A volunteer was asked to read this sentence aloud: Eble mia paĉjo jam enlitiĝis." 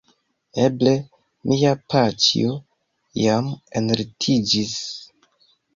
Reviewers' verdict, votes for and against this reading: accepted, 3, 1